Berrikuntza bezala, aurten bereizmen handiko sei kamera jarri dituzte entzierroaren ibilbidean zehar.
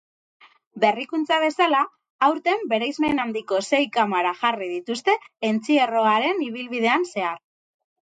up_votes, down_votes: 2, 6